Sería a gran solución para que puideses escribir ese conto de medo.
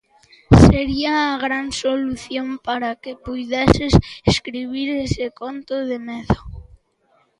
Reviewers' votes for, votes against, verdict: 2, 0, accepted